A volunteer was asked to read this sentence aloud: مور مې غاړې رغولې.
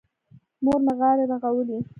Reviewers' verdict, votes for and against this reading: rejected, 1, 2